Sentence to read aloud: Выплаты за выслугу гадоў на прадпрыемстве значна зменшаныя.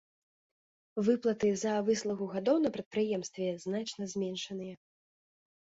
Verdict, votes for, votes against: accepted, 2, 0